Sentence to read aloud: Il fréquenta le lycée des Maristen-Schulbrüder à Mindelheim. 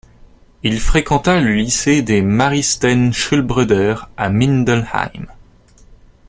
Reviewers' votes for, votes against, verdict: 2, 0, accepted